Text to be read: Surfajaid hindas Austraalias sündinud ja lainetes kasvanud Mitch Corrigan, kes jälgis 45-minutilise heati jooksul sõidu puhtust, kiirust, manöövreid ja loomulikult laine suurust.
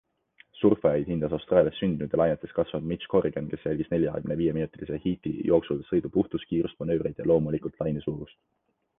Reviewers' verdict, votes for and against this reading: rejected, 0, 2